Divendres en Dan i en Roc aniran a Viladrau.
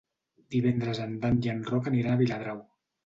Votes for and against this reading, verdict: 0, 2, rejected